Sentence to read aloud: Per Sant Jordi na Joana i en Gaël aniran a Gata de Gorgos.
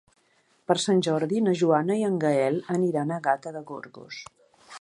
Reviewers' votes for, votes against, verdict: 3, 0, accepted